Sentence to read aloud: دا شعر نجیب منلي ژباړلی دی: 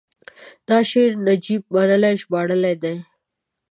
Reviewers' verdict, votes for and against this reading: accepted, 2, 0